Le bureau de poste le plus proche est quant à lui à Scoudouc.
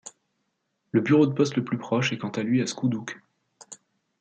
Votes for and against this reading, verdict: 2, 0, accepted